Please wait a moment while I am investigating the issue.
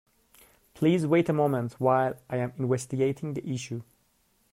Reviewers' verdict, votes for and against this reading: accepted, 2, 1